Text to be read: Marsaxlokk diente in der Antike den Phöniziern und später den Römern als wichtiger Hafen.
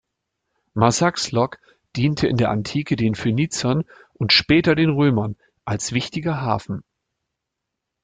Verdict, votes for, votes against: rejected, 1, 2